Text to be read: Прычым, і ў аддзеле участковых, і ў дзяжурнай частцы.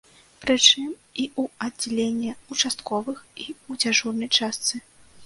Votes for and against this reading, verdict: 1, 2, rejected